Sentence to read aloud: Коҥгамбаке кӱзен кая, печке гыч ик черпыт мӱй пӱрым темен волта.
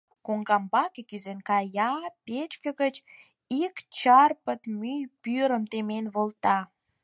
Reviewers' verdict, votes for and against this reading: rejected, 0, 4